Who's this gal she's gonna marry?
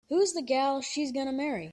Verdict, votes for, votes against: rejected, 0, 2